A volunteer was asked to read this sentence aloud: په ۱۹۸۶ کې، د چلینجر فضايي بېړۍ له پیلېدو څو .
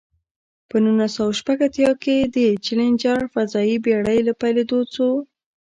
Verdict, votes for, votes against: rejected, 0, 2